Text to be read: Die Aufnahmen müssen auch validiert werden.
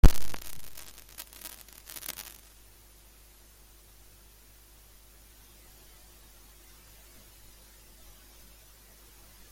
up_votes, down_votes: 0, 2